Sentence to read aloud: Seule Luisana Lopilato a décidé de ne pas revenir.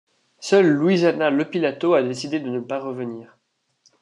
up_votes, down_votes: 2, 0